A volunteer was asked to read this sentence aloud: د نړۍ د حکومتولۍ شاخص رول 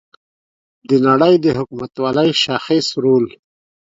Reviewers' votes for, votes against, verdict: 3, 0, accepted